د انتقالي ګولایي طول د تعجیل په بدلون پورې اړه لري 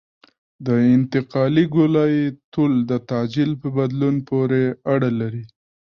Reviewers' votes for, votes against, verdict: 1, 2, rejected